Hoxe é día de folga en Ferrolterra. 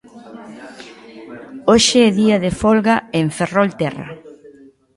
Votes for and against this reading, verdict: 2, 0, accepted